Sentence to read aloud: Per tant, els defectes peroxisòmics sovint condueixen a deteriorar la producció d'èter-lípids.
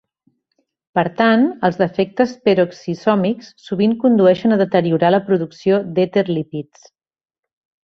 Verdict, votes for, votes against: accepted, 3, 0